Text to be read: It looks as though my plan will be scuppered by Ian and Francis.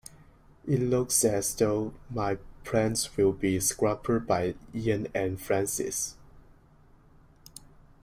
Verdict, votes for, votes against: rejected, 1, 2